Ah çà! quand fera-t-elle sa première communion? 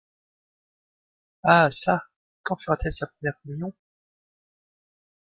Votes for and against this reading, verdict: 2, 0, accepted